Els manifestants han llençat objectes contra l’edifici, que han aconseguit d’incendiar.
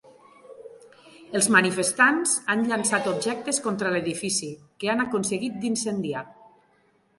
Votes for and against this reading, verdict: 3, 0, accepted